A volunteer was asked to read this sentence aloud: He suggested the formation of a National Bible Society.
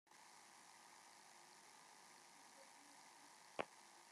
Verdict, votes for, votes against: rejected, 0, 2